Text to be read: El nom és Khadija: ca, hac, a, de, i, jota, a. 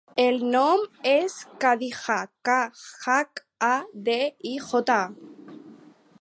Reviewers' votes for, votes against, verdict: 2, 4, rejected